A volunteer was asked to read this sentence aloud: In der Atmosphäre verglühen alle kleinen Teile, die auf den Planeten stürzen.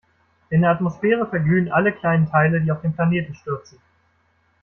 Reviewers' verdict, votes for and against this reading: accepted, 2, 0